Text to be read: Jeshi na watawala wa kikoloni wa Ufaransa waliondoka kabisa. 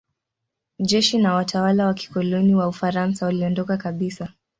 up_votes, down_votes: 2, 0